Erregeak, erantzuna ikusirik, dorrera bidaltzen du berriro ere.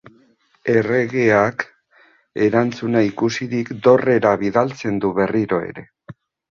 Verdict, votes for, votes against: rejected, 1, 2